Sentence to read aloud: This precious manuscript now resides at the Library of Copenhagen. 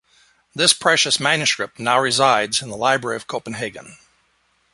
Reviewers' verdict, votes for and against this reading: rejected, 0, 2